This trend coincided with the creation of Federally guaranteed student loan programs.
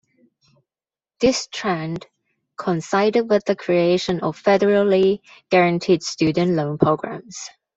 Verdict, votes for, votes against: accepted, 2, 0